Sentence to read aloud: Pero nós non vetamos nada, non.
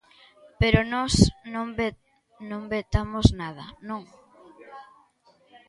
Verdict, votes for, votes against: rejected, 0, 2